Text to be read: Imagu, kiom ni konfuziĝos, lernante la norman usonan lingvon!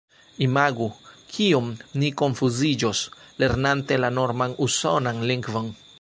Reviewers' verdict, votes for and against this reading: accepted, 2, 1